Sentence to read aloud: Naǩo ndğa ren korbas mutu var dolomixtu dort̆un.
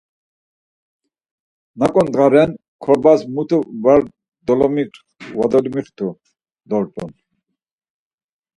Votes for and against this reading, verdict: 2, 4, rejected